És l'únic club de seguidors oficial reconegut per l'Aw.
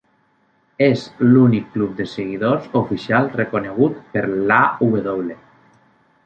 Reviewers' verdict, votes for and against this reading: rejected, 0, 2